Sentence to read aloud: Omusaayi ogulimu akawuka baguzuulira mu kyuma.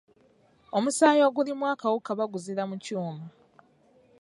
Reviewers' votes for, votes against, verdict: 1, 2, rejected